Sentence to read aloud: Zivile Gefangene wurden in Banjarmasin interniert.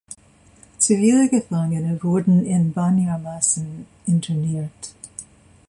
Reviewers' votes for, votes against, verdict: 0, 2, rejected